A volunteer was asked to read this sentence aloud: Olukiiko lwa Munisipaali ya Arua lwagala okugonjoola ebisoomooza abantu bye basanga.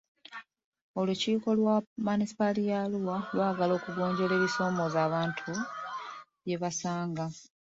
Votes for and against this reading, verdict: 1, 2, rejected